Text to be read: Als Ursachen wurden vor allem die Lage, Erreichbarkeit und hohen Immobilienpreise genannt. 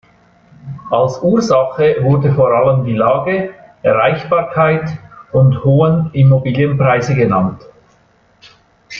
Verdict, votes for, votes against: rejected, 0, 2